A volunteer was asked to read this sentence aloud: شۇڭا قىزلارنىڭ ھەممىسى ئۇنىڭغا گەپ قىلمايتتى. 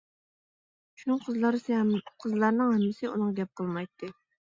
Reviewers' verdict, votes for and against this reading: rejected, 0, 2